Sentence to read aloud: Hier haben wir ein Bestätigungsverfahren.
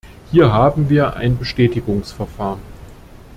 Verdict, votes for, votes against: accepted, 2, 0